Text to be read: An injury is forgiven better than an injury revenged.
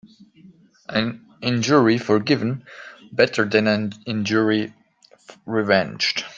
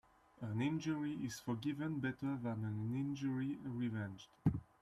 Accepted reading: second